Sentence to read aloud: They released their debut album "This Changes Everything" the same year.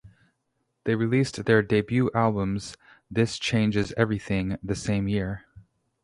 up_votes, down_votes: 0, 2